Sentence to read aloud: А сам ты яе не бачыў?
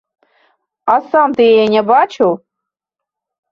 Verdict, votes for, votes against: accepted, 2, 0